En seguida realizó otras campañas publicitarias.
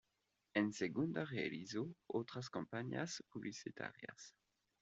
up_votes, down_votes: 1, 2